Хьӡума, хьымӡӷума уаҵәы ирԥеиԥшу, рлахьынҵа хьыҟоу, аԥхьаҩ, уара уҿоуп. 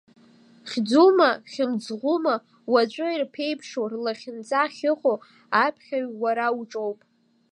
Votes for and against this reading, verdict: 3, 0, accepted